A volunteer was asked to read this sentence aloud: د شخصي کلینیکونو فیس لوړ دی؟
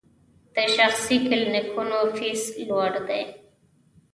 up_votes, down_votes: 1, 2